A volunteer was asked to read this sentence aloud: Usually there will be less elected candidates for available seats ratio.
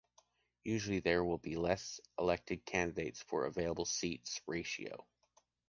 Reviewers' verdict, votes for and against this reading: accepted, 2, 0